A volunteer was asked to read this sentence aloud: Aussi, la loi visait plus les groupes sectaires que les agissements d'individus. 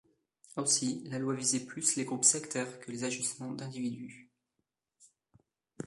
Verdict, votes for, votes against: rejected, 1, 2